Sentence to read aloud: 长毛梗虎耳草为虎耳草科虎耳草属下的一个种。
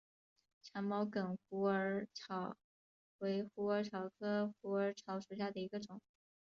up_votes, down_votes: 4, 1